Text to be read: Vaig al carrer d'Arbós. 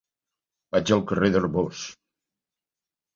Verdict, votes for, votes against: rejected, 0, 2